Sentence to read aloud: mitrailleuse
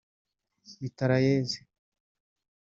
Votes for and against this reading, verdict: 3, 1, accepted